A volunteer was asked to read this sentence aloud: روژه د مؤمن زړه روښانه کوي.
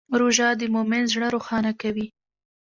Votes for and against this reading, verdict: 1, 2, rejected